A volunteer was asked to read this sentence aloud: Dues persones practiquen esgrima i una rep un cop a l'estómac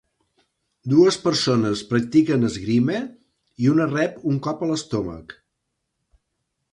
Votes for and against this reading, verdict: 1, 2, rejected